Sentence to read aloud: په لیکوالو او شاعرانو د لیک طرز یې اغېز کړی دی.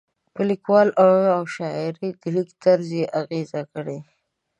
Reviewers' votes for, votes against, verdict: 1, 2, rejected